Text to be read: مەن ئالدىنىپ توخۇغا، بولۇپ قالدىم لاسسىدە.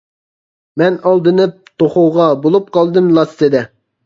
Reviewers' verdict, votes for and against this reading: accepted, 2, 0